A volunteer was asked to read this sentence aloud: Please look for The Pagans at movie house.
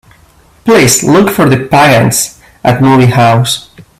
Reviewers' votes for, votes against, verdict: 1, 2, rejected